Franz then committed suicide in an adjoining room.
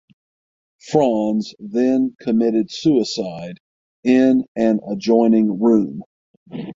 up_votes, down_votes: 6, 0